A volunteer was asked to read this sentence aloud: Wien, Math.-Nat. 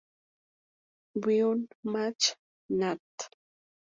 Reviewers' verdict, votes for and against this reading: rejected, 0, 2